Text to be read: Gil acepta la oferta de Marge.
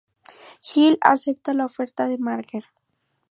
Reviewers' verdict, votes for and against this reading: accepted, 2, 0